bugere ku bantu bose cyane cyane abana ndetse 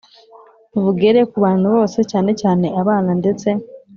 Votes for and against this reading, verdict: 2, 0, accepted